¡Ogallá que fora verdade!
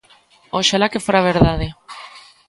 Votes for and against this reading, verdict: 0, 2, rejected